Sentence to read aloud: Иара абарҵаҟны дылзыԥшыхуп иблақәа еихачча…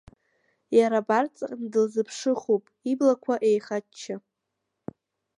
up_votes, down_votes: 0, 2